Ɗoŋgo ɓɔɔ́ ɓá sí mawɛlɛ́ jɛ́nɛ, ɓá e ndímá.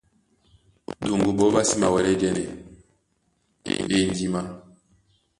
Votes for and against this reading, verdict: 1, 2, rejected